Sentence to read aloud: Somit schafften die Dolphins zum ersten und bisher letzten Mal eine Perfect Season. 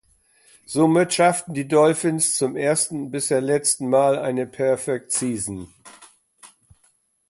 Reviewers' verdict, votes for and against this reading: rejected, 1, 2